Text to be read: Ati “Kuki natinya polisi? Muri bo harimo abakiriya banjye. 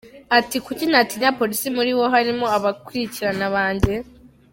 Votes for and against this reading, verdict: 0, 2, rejected